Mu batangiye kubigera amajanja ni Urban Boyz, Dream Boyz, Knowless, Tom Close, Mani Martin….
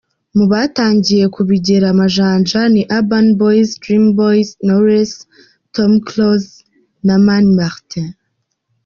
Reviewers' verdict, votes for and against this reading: rejected, 0, 2